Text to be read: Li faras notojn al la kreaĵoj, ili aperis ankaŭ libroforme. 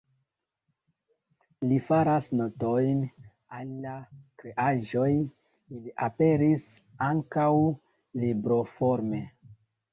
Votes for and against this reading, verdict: 1, 2, rejected